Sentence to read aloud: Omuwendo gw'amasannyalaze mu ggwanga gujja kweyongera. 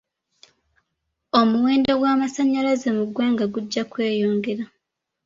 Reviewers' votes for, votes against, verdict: 2, 0, accepted